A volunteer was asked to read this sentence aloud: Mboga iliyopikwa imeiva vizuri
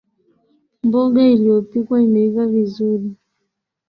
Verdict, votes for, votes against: accepted, 2, 0